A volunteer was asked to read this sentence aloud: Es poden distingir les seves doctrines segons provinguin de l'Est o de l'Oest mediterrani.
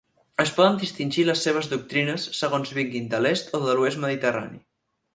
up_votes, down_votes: 2, 4